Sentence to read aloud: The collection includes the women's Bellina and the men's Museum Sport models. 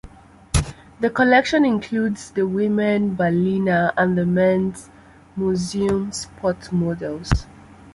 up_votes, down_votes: 1, 2